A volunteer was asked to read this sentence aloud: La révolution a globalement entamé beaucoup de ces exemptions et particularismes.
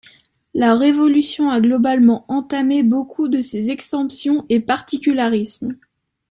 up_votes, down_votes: 1, 2